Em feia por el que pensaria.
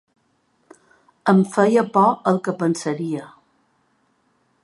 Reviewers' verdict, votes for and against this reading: accepted, 3, 0